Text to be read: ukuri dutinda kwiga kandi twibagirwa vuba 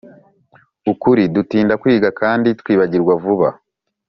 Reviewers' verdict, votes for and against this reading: accepted, 3, 0